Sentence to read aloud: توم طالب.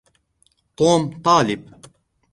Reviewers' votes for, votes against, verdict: 0, 2, rejected